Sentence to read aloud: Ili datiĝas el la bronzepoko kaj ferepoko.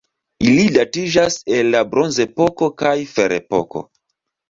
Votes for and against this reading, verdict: 2, 1, accepted